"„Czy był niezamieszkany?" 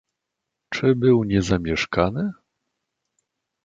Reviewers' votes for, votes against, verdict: 2, 0, accepted